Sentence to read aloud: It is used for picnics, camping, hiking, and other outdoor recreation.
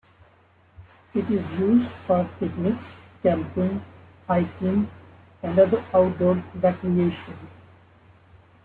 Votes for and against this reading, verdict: 1, 2, rejected